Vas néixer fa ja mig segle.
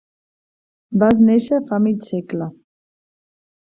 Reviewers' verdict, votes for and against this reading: rejected, 0, 2